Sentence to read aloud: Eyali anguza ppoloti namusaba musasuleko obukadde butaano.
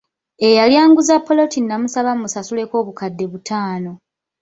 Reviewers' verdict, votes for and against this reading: accepted, 2, 0